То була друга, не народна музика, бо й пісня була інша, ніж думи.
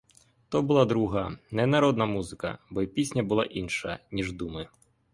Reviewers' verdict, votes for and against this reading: accepted, 2, 0